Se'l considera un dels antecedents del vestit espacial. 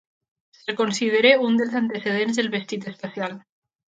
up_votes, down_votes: 2, 0